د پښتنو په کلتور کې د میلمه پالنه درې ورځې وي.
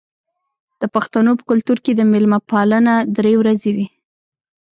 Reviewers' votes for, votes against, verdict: 0, 2, rejected